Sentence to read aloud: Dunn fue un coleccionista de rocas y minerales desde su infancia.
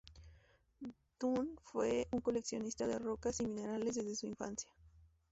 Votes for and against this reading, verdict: 2, 0, accepted